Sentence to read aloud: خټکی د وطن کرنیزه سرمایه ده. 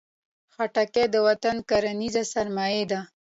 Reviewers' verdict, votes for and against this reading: accepted, 2, 0